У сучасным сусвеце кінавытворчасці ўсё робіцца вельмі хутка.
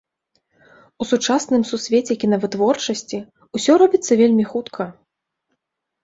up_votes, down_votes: 2, 1